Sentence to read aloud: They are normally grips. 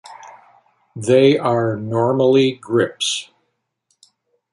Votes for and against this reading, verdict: 2, 0, accepted